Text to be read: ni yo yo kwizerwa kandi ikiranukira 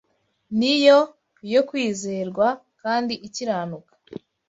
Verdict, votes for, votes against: rejected, 1, 2